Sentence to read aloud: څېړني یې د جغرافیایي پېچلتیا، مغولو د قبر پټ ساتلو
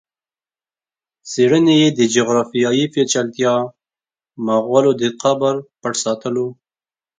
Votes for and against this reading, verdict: 2, 0, accepted